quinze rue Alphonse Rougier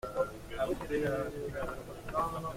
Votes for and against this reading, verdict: 0, 2, rejected